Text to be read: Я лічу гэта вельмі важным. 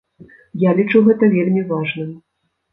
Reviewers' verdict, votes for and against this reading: accepted, 2, 0